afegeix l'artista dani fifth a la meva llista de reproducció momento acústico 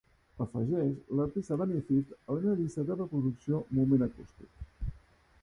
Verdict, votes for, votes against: rejected, 0, 5